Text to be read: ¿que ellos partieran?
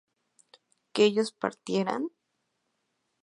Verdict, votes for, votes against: accepted, 4, 0